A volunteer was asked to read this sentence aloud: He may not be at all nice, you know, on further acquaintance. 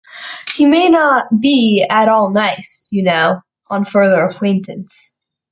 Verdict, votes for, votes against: accepted, 2, 0